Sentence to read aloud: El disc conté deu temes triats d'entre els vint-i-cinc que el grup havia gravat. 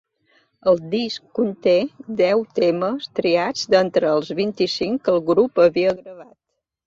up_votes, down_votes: 2, 0